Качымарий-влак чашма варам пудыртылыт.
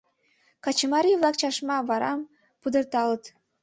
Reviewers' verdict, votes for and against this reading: rejected, 1, 2